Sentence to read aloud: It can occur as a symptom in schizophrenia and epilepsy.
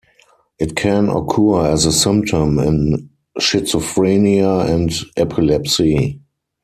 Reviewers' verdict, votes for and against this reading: accepted, 4, 0